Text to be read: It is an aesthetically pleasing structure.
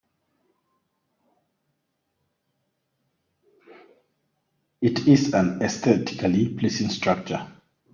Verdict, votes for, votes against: rejected, 0, 2